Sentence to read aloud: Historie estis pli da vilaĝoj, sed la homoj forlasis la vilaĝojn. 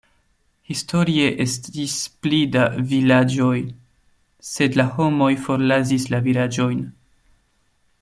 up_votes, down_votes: 2, 1